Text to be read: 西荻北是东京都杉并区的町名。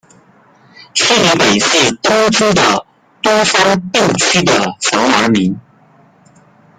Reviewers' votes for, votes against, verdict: 0, 2, rejected